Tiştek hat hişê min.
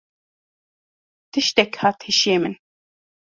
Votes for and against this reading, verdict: 2, 0, accepted